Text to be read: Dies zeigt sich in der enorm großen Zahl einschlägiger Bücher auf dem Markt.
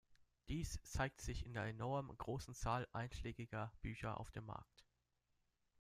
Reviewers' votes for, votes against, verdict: 2, 0, accepted